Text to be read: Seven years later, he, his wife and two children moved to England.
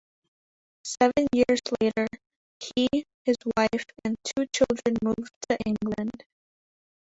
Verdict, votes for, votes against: rejected, 1, 2